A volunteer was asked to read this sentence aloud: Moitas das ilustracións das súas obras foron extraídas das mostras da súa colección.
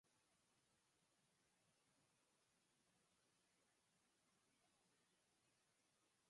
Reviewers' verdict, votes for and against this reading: rejected, 0, 4